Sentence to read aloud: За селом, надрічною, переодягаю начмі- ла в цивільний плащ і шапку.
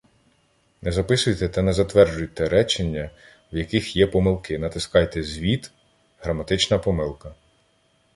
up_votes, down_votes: 0, 2